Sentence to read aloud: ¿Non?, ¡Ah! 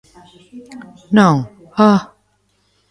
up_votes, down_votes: 2, 0